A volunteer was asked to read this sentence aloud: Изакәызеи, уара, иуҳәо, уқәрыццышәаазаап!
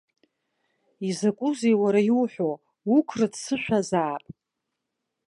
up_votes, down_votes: 3, 0